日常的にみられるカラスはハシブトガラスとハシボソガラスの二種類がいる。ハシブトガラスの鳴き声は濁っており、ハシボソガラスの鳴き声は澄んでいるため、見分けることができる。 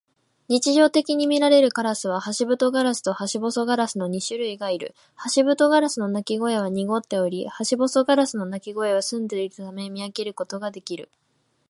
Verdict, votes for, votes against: accepted, 2, 0